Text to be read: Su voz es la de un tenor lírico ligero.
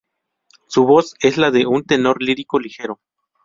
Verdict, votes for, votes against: rejected, 2, 2